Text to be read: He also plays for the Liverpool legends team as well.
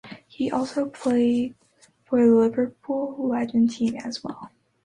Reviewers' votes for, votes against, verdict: 1, 2, rejected